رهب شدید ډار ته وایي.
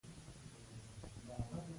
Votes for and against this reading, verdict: 2, 0, accepted